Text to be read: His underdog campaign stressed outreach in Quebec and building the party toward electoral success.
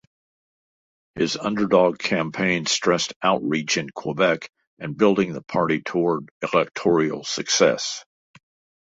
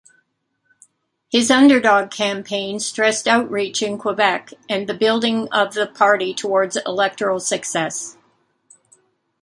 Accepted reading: first